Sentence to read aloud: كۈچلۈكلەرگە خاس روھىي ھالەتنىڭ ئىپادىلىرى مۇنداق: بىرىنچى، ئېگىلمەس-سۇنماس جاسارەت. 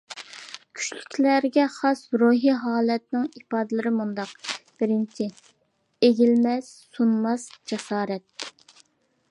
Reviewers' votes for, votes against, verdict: 2, 0, accepted